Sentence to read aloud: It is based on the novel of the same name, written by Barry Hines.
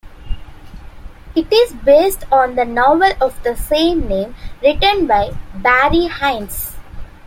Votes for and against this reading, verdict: 2, 0, accepted